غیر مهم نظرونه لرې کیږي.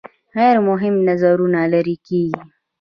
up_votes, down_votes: 1, 2